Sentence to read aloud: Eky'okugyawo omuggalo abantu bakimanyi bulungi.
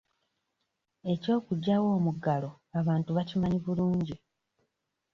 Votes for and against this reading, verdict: 2, 0, accepted